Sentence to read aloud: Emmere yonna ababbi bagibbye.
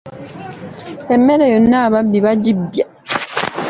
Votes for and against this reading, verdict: 2, 0, accepted